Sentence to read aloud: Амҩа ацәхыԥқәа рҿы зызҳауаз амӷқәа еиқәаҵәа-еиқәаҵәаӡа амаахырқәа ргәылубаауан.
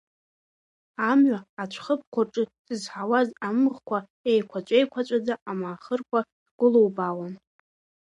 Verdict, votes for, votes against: accepted, 2, 1